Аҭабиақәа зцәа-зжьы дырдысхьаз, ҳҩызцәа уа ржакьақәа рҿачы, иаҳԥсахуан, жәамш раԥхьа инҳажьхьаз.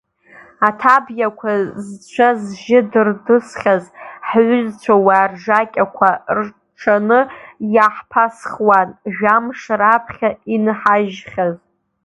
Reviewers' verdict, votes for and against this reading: rejected, 3, 4